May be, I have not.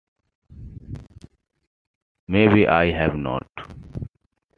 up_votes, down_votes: 2, 0